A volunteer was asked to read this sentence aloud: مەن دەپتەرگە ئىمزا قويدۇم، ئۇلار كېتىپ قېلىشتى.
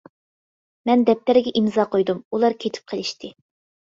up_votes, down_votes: 2, 0